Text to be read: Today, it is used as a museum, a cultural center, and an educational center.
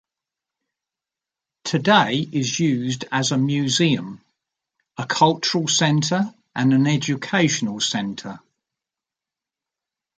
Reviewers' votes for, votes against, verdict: 2, 0, accepted